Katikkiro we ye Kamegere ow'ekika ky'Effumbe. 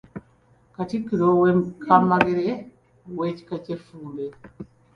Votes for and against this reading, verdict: 0, 2, rejected